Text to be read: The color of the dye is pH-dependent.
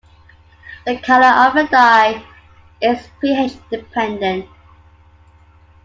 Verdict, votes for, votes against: accepted, 2, 0